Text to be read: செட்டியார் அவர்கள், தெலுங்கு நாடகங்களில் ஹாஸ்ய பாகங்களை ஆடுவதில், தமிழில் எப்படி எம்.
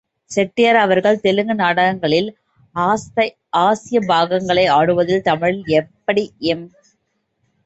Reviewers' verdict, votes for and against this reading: rejected, 0, 2